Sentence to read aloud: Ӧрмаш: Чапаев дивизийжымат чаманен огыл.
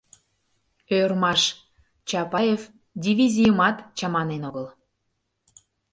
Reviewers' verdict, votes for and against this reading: rejected, 0, 2